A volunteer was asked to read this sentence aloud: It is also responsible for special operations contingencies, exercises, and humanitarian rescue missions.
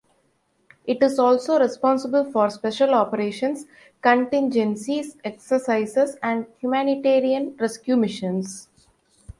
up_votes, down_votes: 2, 1